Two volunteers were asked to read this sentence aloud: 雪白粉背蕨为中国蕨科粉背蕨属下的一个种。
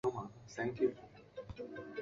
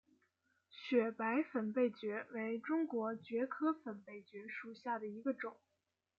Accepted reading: second